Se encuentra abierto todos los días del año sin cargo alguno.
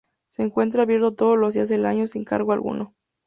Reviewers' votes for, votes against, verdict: 0, 2, rejected